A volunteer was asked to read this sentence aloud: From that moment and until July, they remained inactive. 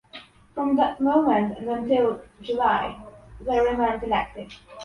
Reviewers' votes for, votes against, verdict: 1, 2, rejected